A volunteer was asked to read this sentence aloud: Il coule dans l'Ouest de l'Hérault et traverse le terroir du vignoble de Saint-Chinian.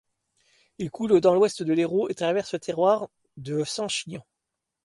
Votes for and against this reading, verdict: 2, 0, accepted